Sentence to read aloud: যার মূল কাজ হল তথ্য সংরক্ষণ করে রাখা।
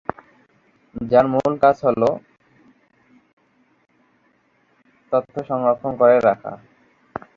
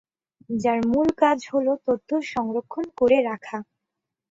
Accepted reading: second